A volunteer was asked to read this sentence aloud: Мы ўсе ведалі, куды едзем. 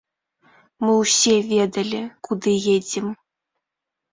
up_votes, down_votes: 2, 0